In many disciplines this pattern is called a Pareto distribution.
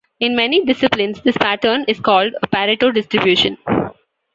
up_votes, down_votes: 2, 0